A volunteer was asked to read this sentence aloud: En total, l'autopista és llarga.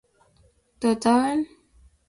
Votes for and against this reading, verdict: 0, 2, rejected